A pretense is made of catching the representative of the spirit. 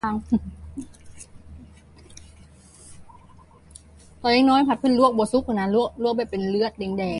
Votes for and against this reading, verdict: 0, 2, rejected